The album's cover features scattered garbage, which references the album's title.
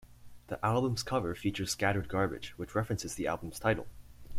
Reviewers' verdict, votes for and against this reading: accepted, 2, 0